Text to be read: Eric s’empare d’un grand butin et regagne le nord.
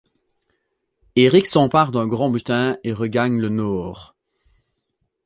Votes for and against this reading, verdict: 2, 0, accepted